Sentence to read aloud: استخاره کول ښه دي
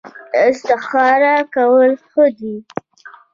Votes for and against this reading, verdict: 2, 0, accepted